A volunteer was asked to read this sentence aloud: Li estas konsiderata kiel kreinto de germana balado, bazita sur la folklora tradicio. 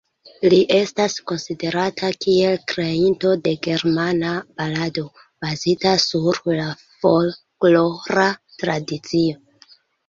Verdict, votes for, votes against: accepted, 2, 1